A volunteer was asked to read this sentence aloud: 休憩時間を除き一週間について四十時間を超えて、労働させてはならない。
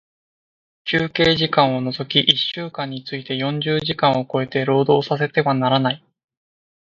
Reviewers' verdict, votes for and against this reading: accepted, 2, 1